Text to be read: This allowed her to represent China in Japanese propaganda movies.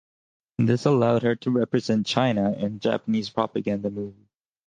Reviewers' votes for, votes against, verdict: 4, 0, accepted